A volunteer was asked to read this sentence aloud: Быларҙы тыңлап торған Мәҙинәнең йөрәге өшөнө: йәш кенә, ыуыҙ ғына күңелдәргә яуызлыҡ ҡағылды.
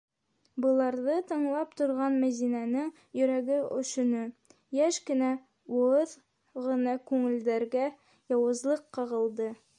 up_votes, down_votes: 1, 2